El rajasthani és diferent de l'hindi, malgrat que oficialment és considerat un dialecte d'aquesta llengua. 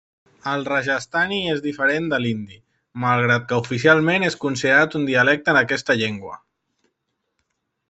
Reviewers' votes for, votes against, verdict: 1, 2, rejected